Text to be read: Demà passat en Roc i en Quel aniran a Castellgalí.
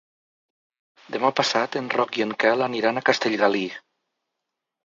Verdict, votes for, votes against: accepted, 2, 0